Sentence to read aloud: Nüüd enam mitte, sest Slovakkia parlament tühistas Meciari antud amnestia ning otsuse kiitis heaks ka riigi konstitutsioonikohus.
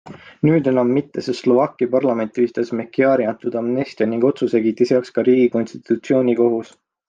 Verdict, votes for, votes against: accepted, 2, 0